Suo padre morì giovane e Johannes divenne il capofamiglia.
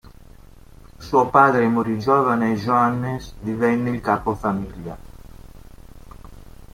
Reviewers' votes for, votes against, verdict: 2, 1, accepted